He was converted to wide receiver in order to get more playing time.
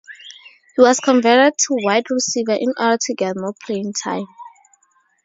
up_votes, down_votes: 4, 0